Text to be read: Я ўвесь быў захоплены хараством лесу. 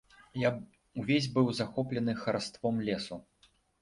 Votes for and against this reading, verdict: 0, 2, rejected